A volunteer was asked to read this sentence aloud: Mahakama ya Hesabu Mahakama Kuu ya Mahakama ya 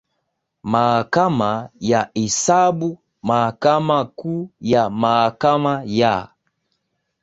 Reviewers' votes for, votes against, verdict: 2, 0, accepted